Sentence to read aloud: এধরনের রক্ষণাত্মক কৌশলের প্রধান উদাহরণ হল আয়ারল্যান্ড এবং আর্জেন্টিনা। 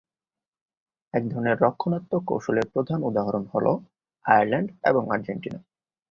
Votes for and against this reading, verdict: 13, 4, accepted